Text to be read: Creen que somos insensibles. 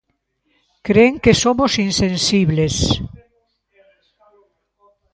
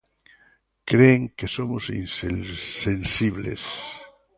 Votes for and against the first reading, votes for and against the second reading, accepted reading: 2, 0, 0, 2, first